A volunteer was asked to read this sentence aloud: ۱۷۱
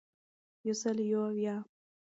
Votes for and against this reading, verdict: 0, 2, rejected